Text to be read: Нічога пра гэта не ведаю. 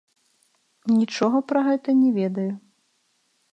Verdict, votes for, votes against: accepted, 2, 0